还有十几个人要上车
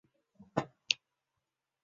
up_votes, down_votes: 0, 2